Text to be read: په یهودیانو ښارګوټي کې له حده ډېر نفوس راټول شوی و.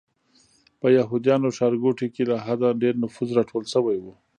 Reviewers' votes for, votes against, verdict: 0, 2, rejected